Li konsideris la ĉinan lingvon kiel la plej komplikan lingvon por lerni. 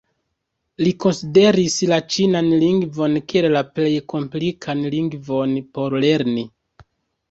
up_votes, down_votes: 1, 2